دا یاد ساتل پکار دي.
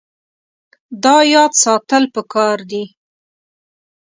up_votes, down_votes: 2, 0